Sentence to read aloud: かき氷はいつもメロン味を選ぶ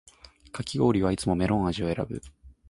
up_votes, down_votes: 3, 0